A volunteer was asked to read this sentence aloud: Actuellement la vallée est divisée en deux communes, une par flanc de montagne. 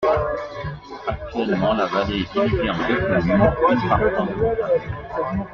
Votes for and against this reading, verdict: 2, 1, accepted